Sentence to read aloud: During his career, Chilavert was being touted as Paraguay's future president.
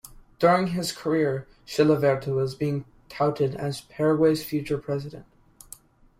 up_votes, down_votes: 2, 0